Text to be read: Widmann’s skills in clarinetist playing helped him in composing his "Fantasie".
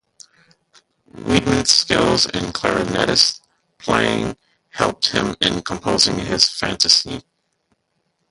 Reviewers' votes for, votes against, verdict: 0, 2, rejected